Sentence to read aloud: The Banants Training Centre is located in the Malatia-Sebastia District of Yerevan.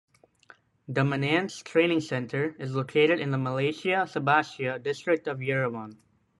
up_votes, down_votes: 1, 2